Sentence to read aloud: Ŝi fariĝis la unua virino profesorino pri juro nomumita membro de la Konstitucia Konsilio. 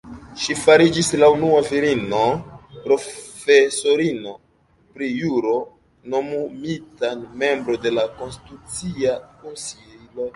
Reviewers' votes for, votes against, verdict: 2, 0, accepted